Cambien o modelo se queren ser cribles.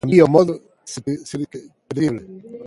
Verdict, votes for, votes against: rejected, 0, 2